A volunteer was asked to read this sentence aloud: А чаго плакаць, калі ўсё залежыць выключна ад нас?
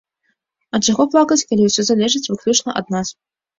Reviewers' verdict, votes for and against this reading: accepted, 2, 0